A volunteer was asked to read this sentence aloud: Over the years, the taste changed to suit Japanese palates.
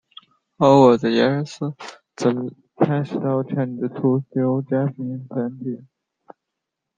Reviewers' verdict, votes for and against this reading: rejected, 0, 2